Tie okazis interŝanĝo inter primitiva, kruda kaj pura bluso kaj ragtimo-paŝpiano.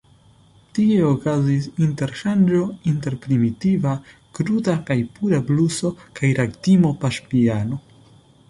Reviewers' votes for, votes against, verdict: 2, 1, accepted